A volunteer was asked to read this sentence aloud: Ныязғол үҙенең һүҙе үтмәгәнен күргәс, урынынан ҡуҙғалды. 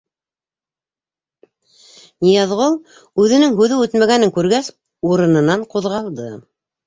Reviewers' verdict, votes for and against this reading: rejected, 1, 2